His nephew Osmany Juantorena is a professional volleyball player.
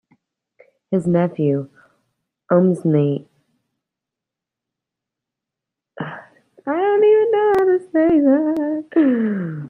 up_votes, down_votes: 0, 2